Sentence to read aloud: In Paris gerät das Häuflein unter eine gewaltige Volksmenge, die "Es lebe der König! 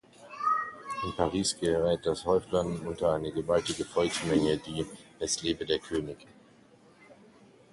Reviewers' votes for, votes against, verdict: 1, 2, rejected